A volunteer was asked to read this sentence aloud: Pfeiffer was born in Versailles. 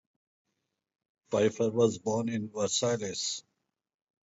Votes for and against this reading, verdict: 2, 2, rejected